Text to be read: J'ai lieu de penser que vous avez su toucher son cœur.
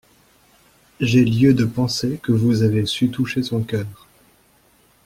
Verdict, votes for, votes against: accepted, 2, 0